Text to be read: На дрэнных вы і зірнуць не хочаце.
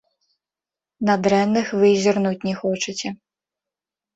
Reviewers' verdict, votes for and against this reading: accepted, 2, 0